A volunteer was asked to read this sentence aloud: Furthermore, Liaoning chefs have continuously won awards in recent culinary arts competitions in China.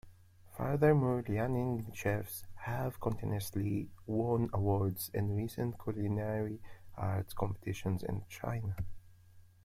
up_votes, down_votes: 2, 1